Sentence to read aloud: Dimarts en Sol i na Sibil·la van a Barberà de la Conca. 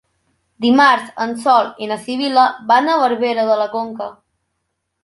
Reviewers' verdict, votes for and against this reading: rejected, 0, 2